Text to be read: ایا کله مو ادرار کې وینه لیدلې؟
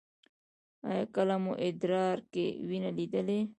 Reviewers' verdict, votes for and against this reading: rejected, 0, 2